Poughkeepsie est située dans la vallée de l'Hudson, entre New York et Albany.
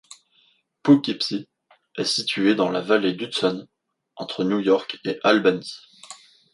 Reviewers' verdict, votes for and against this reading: rejected, 0, 2